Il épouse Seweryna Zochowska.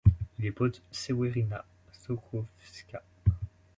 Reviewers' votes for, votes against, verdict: 0, 2, rejected